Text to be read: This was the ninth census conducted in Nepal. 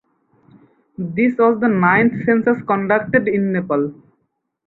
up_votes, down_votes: 2, 4